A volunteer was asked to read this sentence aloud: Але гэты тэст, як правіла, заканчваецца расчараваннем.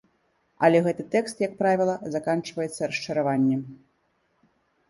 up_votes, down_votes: 1, 2